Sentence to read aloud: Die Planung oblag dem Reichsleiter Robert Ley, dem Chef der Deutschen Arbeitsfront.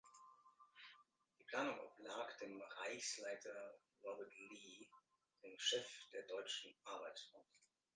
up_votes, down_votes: 0, 2